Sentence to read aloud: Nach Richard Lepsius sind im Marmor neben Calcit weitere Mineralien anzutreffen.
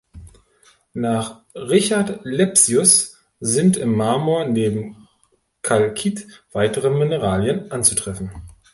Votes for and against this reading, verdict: 1, 2, rejected